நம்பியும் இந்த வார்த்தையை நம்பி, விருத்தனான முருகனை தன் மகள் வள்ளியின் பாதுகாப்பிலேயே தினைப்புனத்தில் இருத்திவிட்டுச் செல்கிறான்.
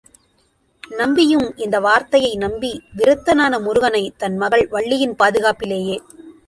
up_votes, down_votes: 0, 2